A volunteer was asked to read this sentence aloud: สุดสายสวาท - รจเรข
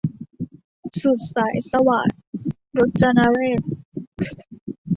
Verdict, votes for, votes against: rejected, 1, 2